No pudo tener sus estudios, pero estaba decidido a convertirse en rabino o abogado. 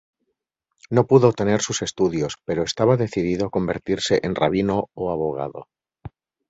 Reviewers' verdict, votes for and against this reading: accepted, 2, 0